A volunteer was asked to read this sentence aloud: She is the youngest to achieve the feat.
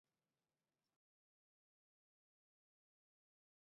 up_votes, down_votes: 0, 2